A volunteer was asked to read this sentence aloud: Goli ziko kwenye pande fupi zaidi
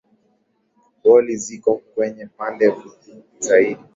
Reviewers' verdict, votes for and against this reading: accepted, 2, 1